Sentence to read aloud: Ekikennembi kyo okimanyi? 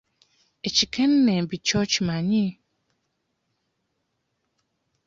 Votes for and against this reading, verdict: 2, 0, accepted